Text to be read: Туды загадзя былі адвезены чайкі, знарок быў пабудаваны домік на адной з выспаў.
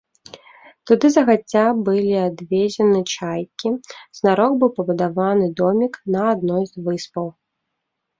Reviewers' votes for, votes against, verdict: 1, 2, rejected